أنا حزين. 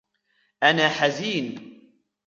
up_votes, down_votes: 1, 2